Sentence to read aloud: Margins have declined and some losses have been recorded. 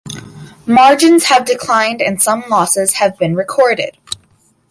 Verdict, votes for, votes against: accepted, 2, 0